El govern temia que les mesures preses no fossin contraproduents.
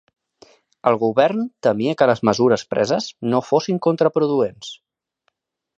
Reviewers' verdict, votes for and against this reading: accepted, 3, 0